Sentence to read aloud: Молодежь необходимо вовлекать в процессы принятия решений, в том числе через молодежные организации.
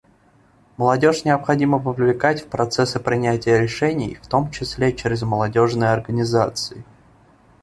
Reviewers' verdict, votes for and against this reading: accepted, 2, 0